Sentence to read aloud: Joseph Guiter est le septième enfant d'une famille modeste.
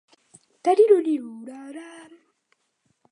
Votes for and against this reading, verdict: 0, 2, rejected